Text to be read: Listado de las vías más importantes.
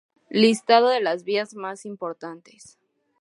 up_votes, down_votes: 2, 0